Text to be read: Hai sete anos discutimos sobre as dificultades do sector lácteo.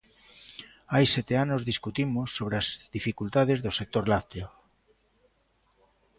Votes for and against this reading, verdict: 2, 0, accepted